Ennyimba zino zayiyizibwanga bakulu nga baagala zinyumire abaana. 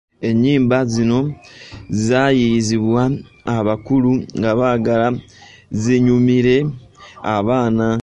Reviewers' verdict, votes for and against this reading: rejected, 0, 2